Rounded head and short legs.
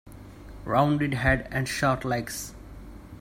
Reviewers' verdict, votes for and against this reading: accepted, 2, 0